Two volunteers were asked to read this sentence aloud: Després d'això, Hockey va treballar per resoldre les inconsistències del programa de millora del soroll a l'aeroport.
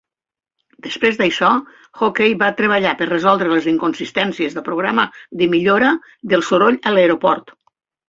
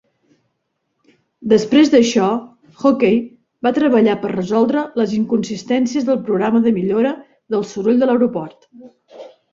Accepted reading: first